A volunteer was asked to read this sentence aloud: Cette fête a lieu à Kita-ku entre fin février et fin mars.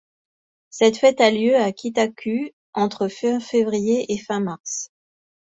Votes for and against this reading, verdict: 2, 0, accepted